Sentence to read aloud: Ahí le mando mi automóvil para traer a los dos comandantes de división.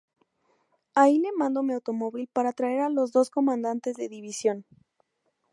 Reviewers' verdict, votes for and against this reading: rejected, 0, 2